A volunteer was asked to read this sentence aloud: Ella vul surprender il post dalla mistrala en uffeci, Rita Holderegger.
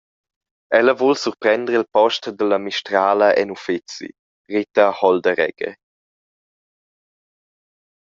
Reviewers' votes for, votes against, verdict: 1, 2, rejected